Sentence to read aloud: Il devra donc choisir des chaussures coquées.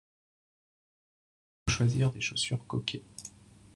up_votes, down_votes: 0, 2